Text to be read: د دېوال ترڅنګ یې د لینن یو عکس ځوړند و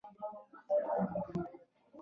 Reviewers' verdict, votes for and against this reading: accepted, 2, 0